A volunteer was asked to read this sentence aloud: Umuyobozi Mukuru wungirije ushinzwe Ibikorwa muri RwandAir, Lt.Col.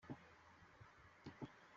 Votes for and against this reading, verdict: 0, 2, rejected